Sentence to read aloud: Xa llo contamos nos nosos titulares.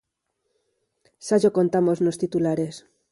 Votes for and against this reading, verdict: 0, 4, rejected